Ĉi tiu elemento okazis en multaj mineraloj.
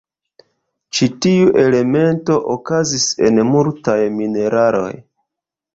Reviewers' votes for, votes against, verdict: 1, 2, rejected